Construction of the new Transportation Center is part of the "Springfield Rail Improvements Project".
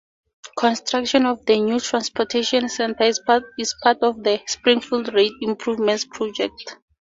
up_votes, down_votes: 4, 2